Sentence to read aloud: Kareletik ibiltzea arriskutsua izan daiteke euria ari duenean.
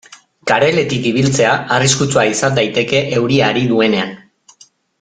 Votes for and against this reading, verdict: 3, 0, accepted